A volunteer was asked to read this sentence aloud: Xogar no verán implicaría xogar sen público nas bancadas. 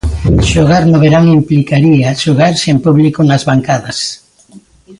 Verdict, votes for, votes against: accepted, 2, 0